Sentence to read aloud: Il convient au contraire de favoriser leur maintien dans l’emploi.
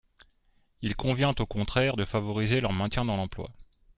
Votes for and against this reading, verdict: 2, 0, accepted